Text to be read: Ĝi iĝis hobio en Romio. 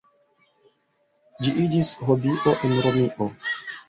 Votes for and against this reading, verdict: 1, 2, rejected